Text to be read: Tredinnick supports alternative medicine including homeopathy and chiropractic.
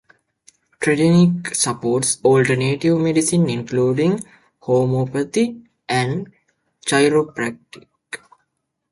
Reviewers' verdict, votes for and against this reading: rejected, 0, 2